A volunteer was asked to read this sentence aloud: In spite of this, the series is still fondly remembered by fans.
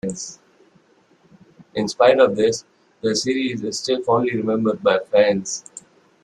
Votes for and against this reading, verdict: 2, 0, accepted